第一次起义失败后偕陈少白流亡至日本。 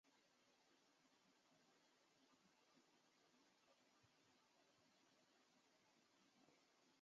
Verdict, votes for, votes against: rejected, 0, 3